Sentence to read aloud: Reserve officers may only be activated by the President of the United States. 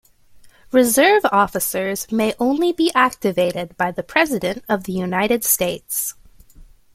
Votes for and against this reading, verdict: 2, 0, accepted